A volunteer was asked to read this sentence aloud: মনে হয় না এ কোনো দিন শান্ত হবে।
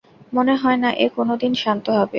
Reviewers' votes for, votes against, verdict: 2, 0, accepted